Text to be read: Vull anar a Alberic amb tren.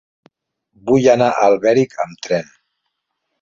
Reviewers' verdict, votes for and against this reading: rejected, 1, 2